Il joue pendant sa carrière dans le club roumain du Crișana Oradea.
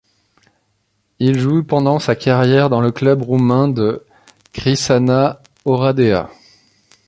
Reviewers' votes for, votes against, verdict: 1, 2, rejected